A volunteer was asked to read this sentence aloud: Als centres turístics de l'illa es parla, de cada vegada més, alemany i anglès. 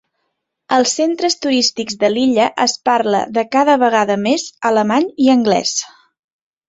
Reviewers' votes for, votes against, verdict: 2, 0, accepted